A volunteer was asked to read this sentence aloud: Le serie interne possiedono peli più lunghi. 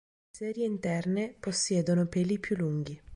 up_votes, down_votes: 2, 3